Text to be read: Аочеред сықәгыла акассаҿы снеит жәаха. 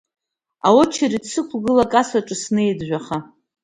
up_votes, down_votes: 2, 1